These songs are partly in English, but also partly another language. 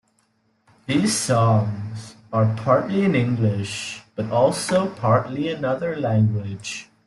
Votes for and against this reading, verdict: 2, 0, accepted